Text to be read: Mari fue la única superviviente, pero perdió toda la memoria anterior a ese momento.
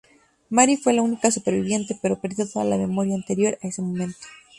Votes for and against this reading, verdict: 2, 0, accepted